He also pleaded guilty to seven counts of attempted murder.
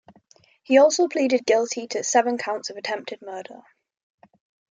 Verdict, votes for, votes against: accepted, 9, 0